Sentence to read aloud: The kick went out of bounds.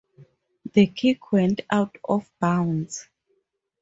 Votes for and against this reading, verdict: 4, 0, accepted